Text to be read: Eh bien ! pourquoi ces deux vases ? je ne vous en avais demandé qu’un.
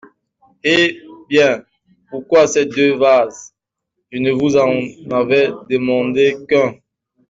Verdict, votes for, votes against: rejected, 1, 2